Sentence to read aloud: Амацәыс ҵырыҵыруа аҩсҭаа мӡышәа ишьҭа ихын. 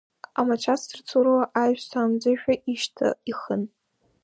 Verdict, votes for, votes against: rejected, 0, 2